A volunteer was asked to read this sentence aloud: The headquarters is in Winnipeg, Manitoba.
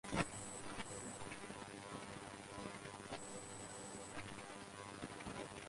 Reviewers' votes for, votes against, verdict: 0, 4, rejected